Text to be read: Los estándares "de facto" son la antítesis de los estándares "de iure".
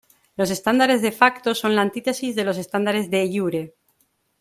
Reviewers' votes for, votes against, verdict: 2, 0, accepted